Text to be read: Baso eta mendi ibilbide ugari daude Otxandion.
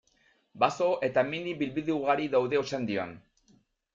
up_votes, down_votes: 0, 2